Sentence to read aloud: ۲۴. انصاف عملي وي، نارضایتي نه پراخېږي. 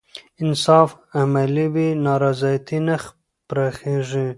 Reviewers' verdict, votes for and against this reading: rejected, 0, 2